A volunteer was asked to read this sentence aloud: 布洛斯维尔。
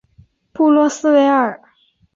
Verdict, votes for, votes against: accepted, 3, 0